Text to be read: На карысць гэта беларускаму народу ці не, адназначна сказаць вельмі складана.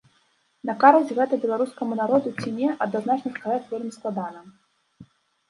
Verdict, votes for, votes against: rejected, 1, 2